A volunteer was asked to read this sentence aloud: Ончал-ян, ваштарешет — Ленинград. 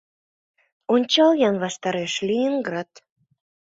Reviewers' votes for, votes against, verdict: 1, 2, rejected